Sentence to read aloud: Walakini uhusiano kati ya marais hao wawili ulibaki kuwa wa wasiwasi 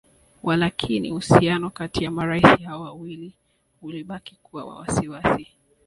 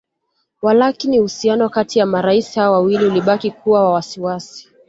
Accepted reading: second